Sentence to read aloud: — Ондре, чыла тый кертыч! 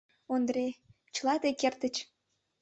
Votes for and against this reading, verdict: 2, 0, accepted